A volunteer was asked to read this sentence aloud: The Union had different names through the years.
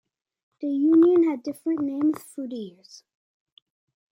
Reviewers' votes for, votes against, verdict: 2, 0, accepted